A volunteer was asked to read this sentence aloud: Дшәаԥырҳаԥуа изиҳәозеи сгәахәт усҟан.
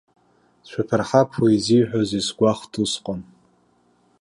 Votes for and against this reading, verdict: 1, 2, rejected